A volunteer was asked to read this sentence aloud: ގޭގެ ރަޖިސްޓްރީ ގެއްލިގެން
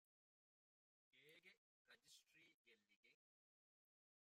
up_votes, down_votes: 1, 2